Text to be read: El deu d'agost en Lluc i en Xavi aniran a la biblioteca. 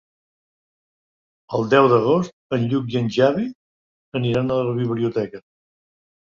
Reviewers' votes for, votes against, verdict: 2, 3, rejected